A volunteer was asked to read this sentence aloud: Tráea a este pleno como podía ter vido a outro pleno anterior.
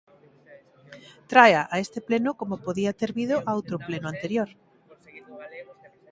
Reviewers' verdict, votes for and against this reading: accepted, 2, 0